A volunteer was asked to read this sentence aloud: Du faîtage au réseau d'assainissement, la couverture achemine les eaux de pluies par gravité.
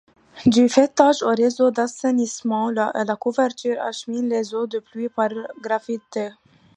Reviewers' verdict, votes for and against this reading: rejected, 1, 2